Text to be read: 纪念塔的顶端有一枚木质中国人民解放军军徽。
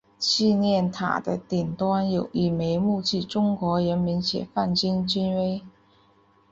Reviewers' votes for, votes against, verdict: 2, 0, accepted